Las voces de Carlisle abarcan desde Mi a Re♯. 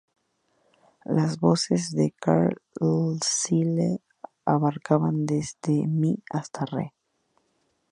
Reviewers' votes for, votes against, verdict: 0, 2, rejected